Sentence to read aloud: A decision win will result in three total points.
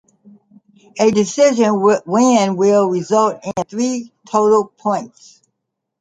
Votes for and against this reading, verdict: 2, 1, accepted